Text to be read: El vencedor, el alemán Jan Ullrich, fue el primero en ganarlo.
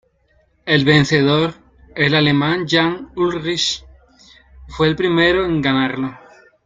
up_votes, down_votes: 0, 2